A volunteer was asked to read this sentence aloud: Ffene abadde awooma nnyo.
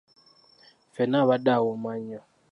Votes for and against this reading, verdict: 2, 1, accepted